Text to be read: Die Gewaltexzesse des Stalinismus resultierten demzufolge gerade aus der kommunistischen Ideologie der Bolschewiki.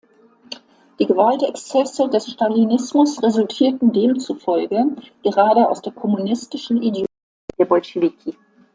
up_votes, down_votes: 0, 2